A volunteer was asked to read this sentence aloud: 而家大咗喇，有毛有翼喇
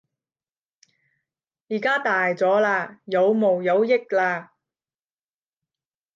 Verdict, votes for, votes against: rejected, 5, 10